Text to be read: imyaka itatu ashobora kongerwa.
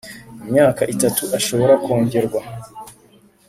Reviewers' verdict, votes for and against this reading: accepted, 2, 0